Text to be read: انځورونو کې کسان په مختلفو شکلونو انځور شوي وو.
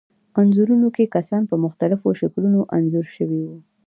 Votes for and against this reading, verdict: 1, 2, rejected